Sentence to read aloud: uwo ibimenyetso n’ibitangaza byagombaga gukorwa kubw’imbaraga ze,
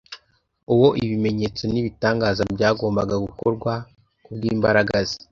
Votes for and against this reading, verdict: 2, 0, accepted